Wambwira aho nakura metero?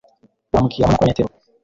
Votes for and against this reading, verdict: 1, 2, rejected